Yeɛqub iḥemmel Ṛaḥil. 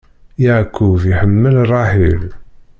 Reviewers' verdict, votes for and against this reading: rejected, 1, 2